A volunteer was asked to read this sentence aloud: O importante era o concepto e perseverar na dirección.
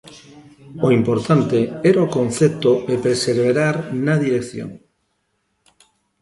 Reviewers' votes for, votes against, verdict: 1, 2, rejected